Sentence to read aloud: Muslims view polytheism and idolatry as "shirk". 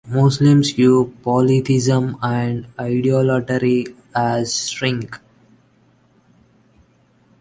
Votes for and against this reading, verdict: 1, 2, rejected